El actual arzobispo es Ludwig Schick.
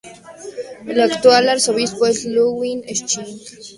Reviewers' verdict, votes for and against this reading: accepted, 2, 0